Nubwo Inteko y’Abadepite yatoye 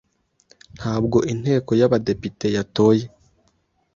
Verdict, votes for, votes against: rejected, 1, 2